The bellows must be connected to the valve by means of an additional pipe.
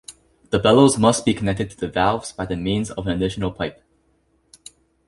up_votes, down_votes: 1, 2